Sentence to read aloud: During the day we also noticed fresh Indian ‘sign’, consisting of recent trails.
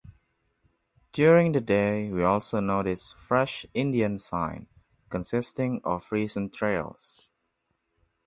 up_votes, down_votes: 2, 0